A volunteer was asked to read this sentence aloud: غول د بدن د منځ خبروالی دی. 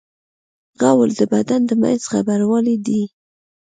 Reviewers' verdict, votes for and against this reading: accepted, 2, 0